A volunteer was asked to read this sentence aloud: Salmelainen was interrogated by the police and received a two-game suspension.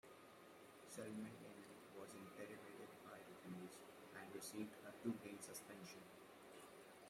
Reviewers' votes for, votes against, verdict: 0, 2, rejected